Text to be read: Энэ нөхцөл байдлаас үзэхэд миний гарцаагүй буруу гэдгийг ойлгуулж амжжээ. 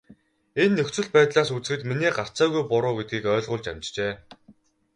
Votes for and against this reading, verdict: 10, 0, accepted